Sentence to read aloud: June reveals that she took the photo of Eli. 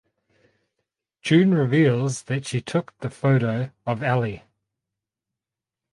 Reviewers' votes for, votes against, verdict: 0, 2, rejected